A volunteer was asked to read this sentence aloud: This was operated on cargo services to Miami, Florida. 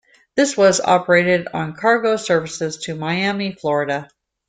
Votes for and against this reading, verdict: 2, 0, accepted